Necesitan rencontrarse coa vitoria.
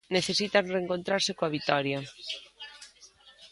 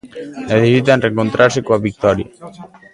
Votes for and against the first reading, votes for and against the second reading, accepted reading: 2, 0, 0, 2, first